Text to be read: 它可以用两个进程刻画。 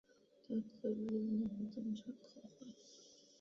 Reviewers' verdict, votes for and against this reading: rejected, 0, 3